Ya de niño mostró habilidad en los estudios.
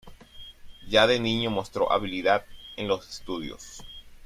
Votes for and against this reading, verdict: 2, 0, accepted